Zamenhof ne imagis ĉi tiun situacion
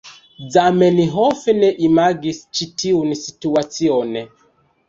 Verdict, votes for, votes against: rejected, 1, 2